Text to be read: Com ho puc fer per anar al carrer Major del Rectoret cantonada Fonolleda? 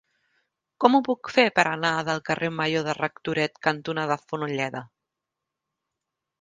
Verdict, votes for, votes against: rejected, 0, 2